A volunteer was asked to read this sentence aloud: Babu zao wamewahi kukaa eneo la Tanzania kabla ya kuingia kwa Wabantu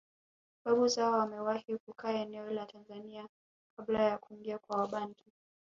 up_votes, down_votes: 1, 2